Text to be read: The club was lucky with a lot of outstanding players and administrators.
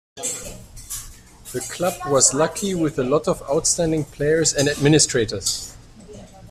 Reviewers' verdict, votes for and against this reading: accepted, 2, 0